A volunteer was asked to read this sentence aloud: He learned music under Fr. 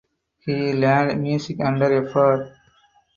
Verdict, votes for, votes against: accepted, 4, 0